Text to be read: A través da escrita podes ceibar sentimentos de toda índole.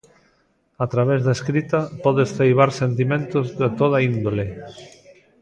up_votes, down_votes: 2, 0